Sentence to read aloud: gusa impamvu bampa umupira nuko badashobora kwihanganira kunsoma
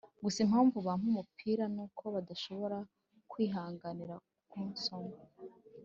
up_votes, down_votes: 2, 0